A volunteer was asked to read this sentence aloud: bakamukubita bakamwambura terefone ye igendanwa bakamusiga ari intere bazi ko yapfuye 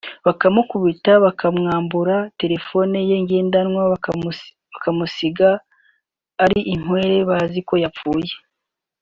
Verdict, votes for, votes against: rejected, 0, 2